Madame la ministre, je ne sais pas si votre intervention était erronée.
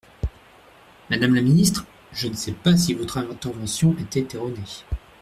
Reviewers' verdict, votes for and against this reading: rejected, 0, 2